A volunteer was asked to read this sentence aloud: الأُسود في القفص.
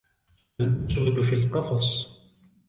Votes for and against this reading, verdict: 2, 1, accepted